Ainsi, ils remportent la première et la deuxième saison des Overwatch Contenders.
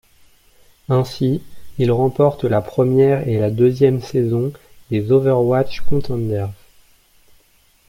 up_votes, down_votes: 1, 2